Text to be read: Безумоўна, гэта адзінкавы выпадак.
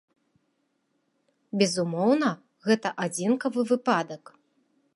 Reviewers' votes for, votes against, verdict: 2, 0, accepted